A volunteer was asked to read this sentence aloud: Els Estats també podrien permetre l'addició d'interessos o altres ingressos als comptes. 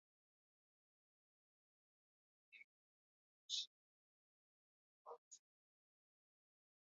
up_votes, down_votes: 0, 2